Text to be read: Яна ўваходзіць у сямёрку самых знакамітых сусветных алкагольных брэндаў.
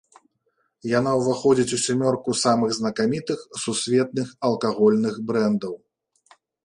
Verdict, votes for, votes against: accepted, 2, 0